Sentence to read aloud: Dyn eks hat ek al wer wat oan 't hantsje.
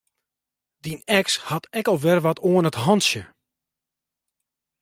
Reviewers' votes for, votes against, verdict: 1, 2, rejected